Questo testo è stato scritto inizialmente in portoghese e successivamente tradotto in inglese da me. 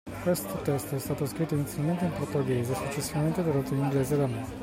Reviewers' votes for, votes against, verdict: 2, 0, accepted